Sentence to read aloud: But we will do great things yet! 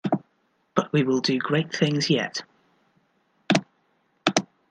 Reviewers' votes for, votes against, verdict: 2, 0, accepted